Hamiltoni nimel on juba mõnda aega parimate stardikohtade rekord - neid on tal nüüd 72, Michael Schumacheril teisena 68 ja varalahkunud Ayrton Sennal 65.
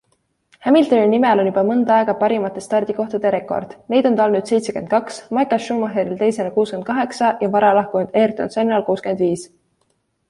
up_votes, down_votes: 0, 2